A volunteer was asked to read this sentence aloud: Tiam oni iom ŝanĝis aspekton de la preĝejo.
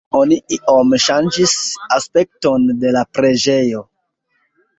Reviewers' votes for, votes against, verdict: 1, 2, rejected